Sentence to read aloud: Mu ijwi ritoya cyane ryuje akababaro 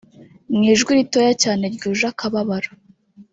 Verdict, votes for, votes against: accepted, 2, 1